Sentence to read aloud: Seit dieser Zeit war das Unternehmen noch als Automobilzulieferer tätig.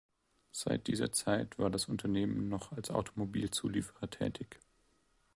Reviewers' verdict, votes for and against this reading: accepted, 2, 0